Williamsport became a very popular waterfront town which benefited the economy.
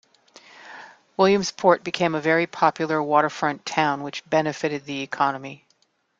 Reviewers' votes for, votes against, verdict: 2, 0, accepted